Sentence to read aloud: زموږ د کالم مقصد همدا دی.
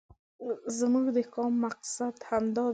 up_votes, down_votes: 2, 1